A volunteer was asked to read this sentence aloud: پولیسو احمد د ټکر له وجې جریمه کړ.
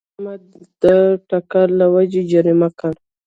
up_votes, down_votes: 1, 2